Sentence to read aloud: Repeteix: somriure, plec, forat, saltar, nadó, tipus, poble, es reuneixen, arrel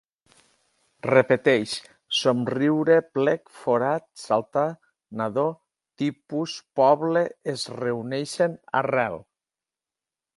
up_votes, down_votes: 2, 0